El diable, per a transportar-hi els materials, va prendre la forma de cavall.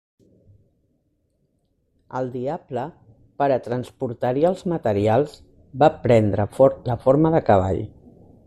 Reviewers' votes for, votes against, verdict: 2, 0, accepted